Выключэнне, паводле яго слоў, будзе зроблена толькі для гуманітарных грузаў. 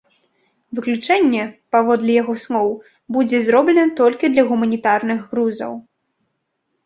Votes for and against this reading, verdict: 1, 2, rejected